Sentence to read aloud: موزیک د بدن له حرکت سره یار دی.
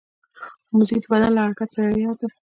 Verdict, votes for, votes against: accepted, 2, 0